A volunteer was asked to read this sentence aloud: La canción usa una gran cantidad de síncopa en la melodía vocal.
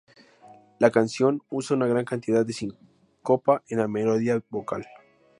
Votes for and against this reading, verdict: 0, 2, rejected